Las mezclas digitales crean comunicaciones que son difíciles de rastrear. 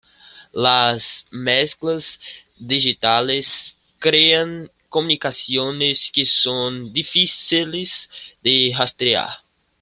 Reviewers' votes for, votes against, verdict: 1, 2, rejected